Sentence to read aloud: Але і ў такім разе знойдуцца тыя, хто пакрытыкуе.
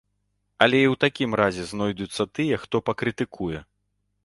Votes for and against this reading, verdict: 2, 0, accepted